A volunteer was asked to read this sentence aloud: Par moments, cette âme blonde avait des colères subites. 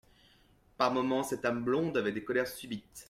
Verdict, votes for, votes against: accepted, 2, 1